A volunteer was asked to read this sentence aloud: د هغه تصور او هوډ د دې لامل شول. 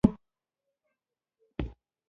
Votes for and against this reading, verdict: 1, 2, rejected